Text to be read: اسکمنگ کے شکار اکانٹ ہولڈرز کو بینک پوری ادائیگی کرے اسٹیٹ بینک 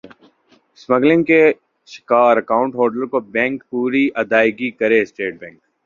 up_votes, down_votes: 2, 1